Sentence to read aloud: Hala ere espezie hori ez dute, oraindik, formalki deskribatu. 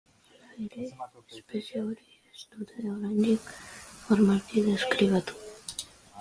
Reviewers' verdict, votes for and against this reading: rejected, 1, 2